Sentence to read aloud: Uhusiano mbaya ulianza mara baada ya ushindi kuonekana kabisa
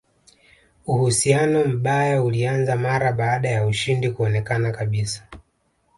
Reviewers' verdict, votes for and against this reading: accepted, 2, 1